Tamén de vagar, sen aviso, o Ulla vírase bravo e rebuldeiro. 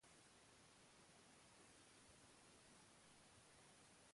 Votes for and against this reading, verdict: 0, 2, rejected